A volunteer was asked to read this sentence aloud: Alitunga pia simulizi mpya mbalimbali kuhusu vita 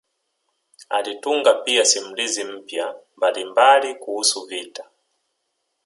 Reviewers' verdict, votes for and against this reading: accepted, 3, 0